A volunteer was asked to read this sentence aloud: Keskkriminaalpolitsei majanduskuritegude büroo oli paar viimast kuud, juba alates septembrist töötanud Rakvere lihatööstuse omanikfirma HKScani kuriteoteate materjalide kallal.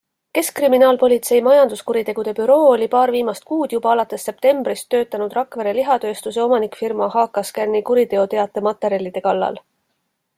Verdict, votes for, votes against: accepted, 2, 0